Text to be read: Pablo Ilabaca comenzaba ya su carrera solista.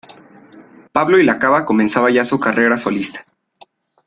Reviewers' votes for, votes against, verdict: 1, 2, rejected